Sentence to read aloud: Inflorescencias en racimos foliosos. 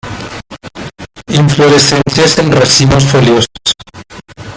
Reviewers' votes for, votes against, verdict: 0, 2, rejected